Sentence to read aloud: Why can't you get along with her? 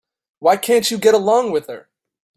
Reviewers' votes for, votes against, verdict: 2, 0, accepted